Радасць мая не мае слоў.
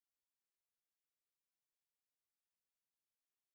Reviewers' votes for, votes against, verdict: 0, 2, rejected